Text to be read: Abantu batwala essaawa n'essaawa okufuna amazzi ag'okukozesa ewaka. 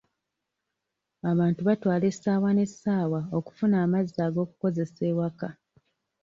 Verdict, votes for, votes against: accepted, 2, 0